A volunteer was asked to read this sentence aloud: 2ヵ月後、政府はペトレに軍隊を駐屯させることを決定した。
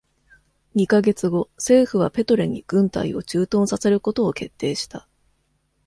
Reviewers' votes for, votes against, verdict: 0, 2, rejected